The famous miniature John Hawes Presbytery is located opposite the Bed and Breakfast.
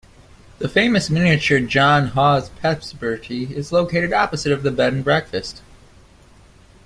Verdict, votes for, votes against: rejected, 1, 2